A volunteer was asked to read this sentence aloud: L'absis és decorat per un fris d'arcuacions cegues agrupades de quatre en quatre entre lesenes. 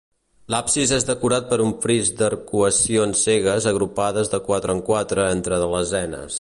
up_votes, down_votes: 0, 2